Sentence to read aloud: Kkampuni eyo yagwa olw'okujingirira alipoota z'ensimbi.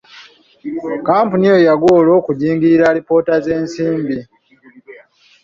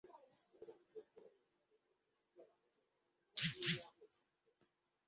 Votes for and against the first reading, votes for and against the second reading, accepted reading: 2, 0, 0, 2, first